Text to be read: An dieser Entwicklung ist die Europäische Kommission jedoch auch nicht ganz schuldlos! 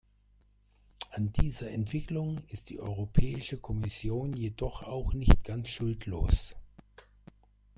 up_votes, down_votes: 2, 1